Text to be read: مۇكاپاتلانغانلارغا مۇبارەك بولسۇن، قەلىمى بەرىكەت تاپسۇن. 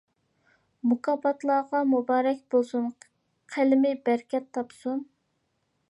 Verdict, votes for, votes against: rejected, 0, 2